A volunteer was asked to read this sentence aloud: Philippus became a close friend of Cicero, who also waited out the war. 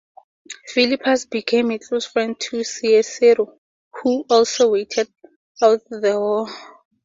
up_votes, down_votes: 2, 0